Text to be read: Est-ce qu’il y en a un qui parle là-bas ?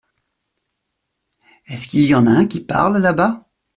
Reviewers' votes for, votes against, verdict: 2, 0, accepted